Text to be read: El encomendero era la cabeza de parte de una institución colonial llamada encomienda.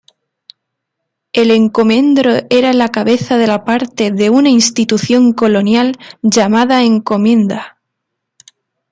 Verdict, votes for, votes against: rejected, 0, 2